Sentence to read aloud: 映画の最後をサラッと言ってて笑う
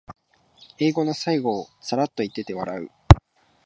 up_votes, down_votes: 2, 1